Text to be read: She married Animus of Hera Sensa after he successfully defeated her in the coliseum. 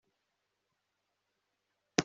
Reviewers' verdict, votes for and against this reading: rejected, 1, 2